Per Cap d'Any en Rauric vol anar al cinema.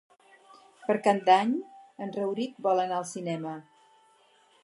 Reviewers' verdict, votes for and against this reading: accepted, 4, 0